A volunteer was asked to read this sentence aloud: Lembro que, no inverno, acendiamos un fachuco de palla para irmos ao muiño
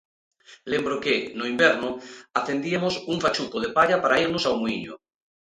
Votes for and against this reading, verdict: 0, 2, rejected